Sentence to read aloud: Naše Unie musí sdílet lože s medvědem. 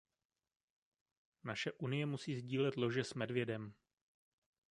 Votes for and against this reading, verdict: 1, 2, rejected